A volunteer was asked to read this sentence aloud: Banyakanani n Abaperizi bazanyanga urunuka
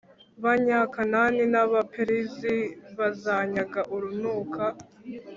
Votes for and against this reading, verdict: 3, 0, accepted